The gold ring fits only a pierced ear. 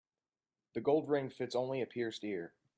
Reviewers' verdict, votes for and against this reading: accepted, 2, 0